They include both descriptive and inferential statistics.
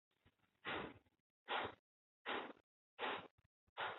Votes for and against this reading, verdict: 0, 2, rejected